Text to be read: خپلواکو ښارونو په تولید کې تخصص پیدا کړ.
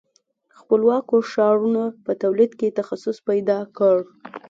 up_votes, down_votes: 2, 0